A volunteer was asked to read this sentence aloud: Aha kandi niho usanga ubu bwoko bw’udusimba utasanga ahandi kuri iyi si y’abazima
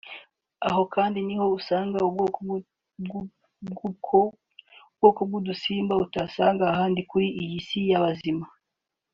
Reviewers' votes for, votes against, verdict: 1, 2, rejected